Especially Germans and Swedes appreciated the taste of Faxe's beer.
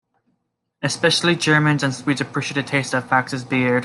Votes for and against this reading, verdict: 0, 2, rejected